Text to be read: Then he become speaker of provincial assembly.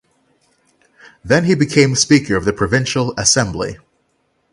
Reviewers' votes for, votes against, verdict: 0, 6, rejected